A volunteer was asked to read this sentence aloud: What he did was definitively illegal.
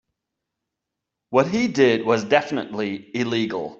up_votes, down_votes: 0, 2